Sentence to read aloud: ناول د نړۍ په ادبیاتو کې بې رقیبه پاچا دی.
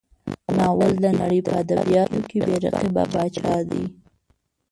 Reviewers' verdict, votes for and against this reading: rejected, 0, 2